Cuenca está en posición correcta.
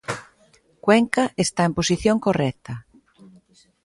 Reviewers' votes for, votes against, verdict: 2, 0, accepted